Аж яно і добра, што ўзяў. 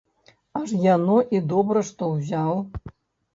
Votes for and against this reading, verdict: 2, 0, accepted